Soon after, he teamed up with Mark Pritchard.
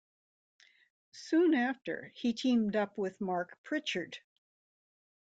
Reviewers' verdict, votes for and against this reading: accepted, 2, 1